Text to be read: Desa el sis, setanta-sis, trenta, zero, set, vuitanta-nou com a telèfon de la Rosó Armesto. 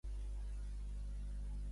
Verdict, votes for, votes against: rejected, 0, 2